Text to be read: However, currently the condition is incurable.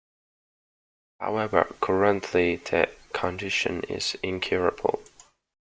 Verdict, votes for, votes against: accepted, 2, 0